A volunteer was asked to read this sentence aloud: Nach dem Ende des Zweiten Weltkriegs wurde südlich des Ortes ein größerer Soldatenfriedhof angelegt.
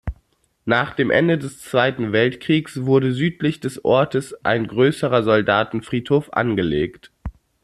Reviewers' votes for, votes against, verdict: 2, 0, accepted